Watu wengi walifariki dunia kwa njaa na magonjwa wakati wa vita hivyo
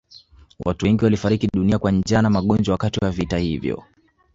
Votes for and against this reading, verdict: 2, 1, accepted